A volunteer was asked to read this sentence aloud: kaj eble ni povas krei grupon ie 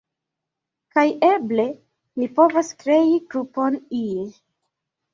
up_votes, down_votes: 2, 1